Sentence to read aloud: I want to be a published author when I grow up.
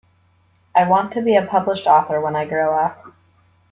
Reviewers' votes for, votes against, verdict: 2, 1, accepted